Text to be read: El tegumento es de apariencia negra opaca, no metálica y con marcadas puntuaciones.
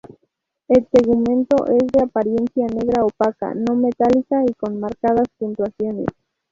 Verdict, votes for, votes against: accepted, 2, 0